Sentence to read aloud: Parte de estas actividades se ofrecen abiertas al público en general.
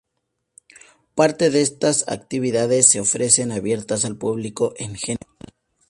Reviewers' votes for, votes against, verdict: 2, 2, rejected